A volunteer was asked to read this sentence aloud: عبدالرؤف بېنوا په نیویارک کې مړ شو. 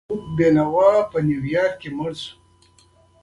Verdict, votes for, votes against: accepted, 2, 1